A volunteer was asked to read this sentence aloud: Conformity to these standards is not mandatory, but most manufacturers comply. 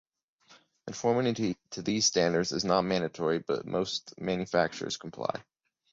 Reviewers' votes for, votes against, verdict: 2, 0, accepted